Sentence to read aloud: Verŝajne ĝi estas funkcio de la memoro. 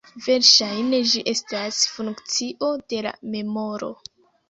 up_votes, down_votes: 0, 2